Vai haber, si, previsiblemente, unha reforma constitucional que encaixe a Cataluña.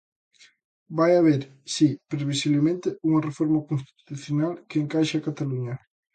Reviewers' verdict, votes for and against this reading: accepted, 2, 0